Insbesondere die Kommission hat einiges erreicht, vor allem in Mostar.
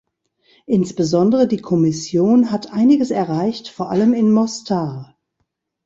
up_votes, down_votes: 1, 2